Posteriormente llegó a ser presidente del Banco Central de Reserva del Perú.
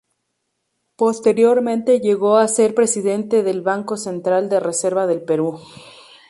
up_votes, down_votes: 0, 2